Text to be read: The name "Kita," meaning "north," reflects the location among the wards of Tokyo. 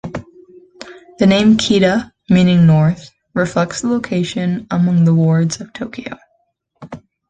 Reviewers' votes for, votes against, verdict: 2, 0, accepted